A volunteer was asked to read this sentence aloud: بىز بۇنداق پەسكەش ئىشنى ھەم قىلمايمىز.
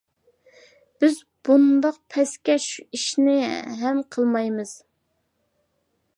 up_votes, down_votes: 2, 0